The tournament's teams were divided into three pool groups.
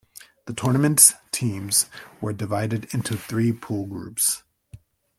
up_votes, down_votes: 3, 0